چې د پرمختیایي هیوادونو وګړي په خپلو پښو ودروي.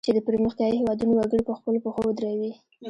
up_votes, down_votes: 0, 2